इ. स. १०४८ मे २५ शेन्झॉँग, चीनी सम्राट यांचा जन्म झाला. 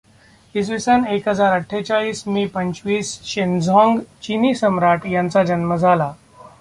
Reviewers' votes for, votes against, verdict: 0, 2, rejected